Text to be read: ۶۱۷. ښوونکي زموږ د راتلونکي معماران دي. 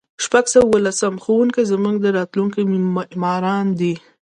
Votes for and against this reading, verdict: 0, 2, rejected